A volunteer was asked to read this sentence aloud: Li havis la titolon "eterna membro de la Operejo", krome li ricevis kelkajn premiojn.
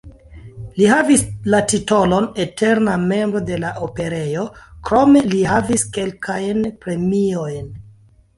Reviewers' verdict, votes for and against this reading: accepted, 2, 0